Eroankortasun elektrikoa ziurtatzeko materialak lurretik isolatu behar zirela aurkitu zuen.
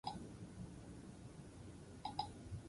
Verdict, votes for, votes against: rejected, 0, 2